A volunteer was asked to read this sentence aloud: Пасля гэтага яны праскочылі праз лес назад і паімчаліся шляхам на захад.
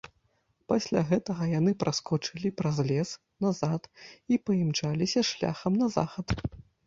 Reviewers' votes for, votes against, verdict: 2, 0, accepted